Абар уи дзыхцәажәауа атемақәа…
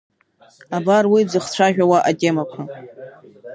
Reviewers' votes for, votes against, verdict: 4, 0, accepted